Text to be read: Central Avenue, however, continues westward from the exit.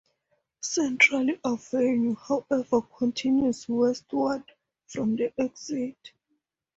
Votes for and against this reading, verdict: 4, 2, accepted